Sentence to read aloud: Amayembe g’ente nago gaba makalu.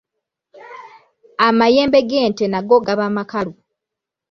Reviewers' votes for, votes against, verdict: 3, 0, accepted